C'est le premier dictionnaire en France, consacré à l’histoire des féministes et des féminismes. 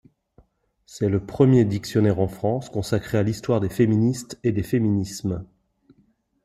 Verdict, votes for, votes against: accepted, 2, 0